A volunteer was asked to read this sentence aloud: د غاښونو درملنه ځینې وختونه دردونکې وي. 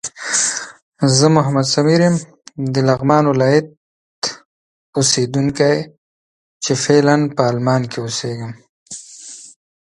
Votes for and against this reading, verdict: 1, 4, rejected